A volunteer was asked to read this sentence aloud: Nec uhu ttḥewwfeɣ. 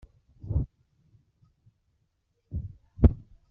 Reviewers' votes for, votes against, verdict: 0, 2, rejected